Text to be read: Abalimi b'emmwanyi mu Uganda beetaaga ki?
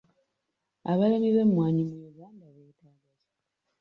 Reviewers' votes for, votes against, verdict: 1, 2, rejected